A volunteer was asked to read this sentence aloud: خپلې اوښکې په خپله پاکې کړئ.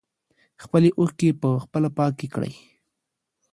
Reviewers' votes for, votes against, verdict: 2, 0, accepted